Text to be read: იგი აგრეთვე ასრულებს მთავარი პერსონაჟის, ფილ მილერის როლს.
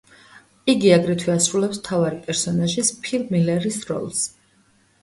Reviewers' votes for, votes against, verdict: 2, 1, accepted